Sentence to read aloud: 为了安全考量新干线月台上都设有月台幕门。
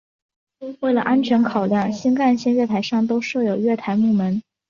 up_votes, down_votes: 2, 0